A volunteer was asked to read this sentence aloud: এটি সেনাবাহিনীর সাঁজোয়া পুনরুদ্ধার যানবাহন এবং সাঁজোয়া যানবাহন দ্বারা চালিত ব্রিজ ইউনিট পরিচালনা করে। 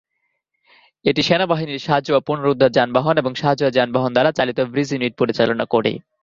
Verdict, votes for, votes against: accepted, 2, 0